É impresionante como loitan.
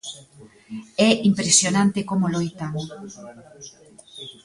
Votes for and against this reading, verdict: 2, 1, accepted